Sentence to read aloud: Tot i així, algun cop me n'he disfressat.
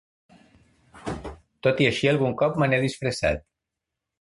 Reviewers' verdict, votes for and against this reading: accepted, 2, 0